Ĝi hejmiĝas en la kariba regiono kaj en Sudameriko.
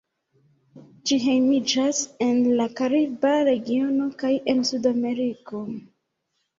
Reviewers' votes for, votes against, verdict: 0, 2, rejected